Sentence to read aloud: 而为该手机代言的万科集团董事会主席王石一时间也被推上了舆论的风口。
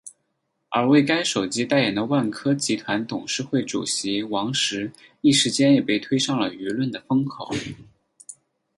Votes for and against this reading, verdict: 0, 4, rejected